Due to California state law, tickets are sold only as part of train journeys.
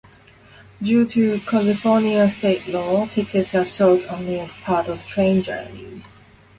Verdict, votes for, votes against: accepted, 2, 0